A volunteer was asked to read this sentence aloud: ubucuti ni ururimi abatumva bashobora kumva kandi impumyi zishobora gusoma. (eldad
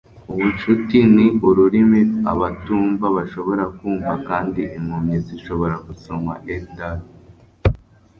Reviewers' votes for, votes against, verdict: 1, 2, rejected